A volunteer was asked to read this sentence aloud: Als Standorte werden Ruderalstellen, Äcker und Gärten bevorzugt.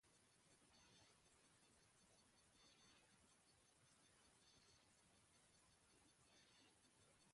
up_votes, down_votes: 0, 2